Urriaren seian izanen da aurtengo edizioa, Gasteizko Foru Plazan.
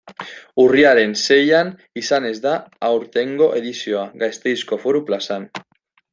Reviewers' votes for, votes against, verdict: 0, 2, rejected